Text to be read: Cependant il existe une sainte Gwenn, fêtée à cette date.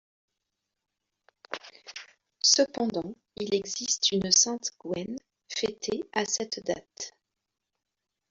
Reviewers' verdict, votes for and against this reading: rejected, 1, 2